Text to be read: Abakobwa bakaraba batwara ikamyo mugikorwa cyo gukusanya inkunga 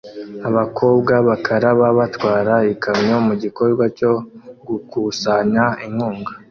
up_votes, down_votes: 2, 0